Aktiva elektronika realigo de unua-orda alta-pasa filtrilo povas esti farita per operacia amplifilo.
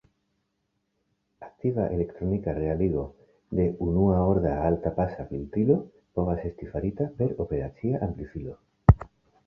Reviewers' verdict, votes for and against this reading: accepted, 2, 0